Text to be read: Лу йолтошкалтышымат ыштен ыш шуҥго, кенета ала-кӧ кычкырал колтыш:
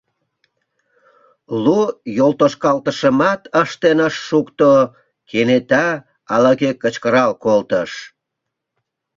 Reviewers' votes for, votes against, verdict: 0, 2, rejected